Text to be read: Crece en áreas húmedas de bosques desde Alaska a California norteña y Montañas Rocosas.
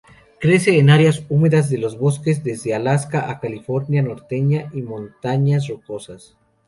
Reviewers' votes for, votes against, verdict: 0, 2, rejected